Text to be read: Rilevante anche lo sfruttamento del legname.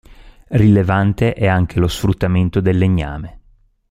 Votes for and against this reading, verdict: 1, 2, rejected